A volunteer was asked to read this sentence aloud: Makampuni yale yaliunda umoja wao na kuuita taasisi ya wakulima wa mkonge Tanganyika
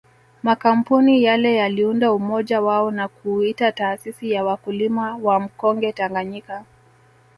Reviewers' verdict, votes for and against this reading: rejected, 1, 2